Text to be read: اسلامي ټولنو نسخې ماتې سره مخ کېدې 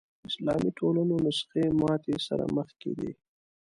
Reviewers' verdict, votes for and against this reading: accepted, 2, 0